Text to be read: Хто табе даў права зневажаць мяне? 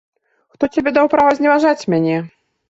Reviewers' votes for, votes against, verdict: 1, 2, rejected